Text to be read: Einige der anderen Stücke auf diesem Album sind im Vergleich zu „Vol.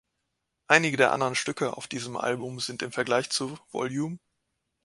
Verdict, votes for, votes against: rejected, 1, 2